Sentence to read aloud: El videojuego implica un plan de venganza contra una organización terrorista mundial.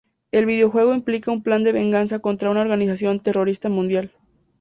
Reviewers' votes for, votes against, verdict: 2, 0, accepted